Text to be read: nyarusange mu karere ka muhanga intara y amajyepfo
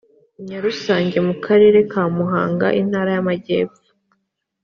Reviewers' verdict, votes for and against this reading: accepted, 2, 0